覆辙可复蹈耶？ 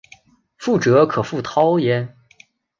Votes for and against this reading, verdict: 2, 0, accepted